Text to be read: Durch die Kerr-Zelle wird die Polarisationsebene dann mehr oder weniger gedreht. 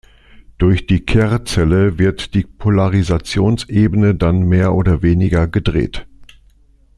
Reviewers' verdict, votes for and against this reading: accepted, 2, 0